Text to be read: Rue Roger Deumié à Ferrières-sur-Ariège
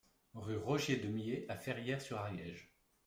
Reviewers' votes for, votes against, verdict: 2, 0, accepted